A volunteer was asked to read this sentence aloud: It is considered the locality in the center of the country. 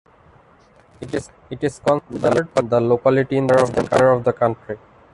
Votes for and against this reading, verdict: 0, 2, rejected